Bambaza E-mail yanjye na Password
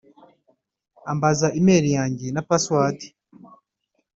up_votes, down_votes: 1, 2